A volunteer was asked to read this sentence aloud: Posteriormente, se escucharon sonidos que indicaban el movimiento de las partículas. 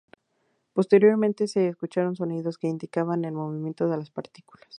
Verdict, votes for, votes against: accepted, 2, 0